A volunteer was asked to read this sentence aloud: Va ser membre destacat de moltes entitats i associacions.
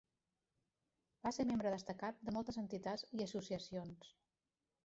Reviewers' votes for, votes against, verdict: 1, 2, rejected